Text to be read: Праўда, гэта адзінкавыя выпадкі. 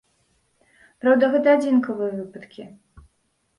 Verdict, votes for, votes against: accepted, 2, 0